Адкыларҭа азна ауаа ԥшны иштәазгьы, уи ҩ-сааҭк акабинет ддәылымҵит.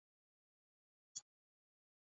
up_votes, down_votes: 0, 2